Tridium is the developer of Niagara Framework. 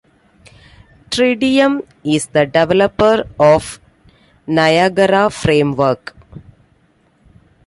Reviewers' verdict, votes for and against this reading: accepted, 2, 0